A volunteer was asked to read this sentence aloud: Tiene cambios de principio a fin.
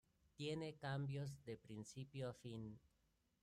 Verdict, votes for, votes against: accepted, 2, 1